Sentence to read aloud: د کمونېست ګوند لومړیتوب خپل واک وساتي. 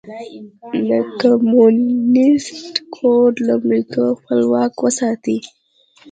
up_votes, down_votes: 1, 2